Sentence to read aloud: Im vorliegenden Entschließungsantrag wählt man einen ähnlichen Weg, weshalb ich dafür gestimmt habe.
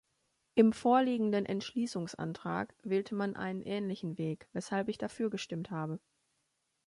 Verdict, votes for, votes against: accepted, 2, 1